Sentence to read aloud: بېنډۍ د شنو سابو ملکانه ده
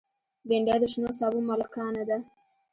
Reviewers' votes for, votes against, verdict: 1, 2, rejected